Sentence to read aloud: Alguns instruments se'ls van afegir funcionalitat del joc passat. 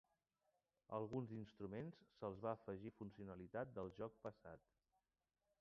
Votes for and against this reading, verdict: 2, 1, accepted